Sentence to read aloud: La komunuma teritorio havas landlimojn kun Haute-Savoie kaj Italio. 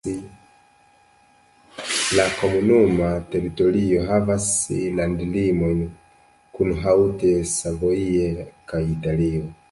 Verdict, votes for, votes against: rejected, 0, 2